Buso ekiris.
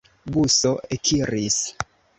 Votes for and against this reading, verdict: 2, 0, accepted